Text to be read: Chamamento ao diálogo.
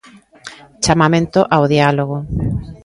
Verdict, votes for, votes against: accepted, 2, 1